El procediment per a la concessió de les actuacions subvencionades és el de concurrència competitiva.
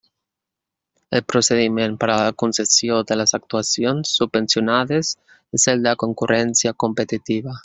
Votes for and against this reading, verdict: 1, 2, rejected